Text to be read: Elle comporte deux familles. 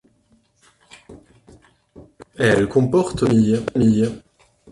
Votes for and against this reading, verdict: 0, 2, rejected